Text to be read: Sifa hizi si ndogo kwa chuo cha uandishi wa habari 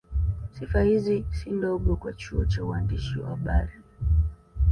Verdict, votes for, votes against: accepted, 2, 0